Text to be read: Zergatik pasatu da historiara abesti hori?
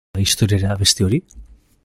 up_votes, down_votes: 0, 2